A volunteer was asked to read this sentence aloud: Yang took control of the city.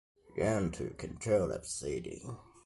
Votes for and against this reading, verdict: 2, 1, accepted